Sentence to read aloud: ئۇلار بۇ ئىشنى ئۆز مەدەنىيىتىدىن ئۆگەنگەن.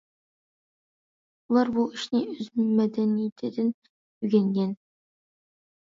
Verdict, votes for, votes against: accepted, 2, 0